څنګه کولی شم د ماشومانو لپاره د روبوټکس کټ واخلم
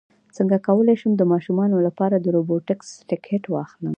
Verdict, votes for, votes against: rejected, 0, 2